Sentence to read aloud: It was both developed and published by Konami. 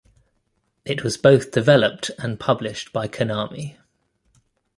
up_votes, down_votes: 3, 0